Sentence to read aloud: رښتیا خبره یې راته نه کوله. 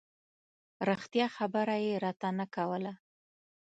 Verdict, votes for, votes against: rejected, 1, 2